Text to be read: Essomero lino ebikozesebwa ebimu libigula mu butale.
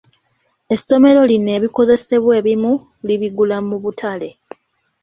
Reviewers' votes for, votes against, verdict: 2, 0, accepted